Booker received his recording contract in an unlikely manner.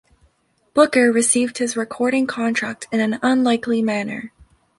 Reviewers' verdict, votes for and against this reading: accepted, 2, 0